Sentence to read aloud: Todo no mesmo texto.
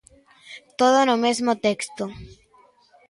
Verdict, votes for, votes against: accepted, 2, 0